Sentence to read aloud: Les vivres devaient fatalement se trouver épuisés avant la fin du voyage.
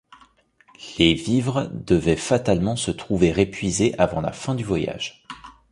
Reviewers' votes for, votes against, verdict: 2, 0, accepted